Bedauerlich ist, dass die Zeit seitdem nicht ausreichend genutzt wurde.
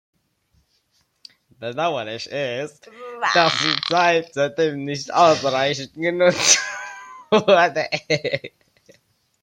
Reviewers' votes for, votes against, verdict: 0, 2, rejected